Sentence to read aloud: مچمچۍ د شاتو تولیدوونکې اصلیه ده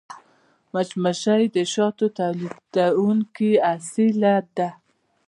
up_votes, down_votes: 2, 1